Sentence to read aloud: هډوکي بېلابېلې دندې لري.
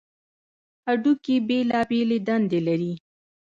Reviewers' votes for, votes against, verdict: 1, 2, rejected